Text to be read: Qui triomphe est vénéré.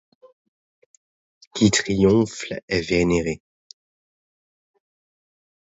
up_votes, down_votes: 1, 2